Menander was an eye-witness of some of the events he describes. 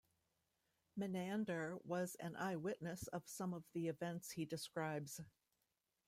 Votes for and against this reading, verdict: 2, 0, accepted